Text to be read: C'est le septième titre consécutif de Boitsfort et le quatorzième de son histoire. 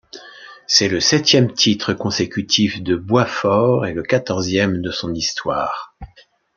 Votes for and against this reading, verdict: 2, 0, accepted